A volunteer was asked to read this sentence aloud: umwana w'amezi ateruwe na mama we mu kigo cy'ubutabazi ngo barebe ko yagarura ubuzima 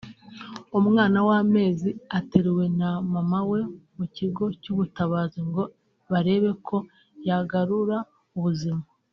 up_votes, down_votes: 2, 0